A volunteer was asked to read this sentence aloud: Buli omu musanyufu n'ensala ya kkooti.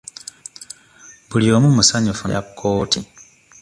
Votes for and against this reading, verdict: 1, 2, rejected